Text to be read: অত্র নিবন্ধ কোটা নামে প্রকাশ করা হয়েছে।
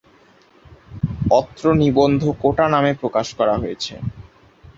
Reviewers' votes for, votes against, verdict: 2, 0, accepted